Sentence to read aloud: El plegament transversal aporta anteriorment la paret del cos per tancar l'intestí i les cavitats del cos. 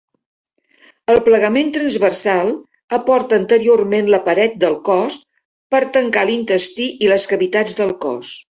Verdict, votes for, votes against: accepted, 3, 0